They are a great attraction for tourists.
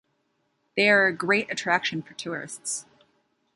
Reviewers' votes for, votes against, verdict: 3, 0, accepted